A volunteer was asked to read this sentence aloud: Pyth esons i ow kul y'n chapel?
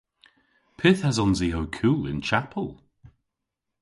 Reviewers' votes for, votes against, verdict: 2, 0, accepted